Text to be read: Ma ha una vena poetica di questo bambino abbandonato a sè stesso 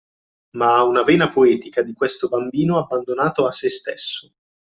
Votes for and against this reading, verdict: 2, 0, accepted